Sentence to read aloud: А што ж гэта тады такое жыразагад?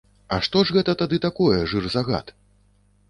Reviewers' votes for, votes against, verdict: 1, 2, rejected